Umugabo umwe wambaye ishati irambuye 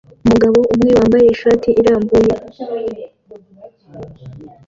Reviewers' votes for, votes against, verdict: 2, 1, accepted